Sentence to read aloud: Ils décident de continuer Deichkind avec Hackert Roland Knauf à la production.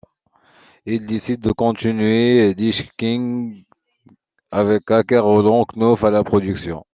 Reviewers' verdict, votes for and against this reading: rejected, 1, 2